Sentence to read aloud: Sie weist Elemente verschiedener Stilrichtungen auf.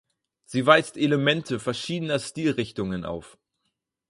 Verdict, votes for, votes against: accepted, 4, 0